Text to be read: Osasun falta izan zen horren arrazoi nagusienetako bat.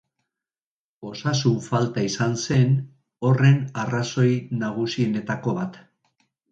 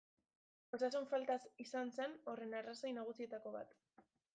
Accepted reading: first